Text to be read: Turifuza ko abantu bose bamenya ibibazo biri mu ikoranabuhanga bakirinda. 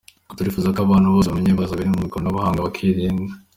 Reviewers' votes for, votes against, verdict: 2, 1, accepted